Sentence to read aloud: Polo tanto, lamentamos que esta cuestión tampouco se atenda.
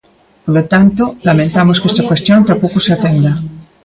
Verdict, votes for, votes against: accepted, 2, 1